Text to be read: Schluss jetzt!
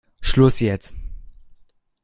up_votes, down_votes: 2, 1